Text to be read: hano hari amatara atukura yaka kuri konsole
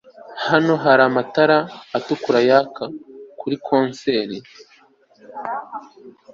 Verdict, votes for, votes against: rejected, 0, 2